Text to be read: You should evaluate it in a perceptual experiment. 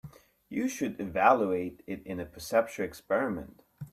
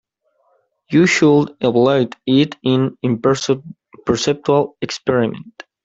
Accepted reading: first